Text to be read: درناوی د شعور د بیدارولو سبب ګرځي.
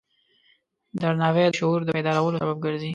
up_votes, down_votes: 2, 1